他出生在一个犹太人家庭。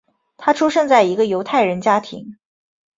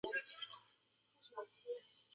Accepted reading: first